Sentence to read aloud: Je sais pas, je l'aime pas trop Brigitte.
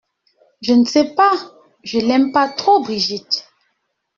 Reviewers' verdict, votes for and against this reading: rejected, 0, 2